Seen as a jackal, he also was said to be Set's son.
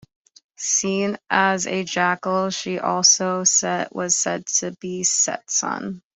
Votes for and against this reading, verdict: 0, 2, rejected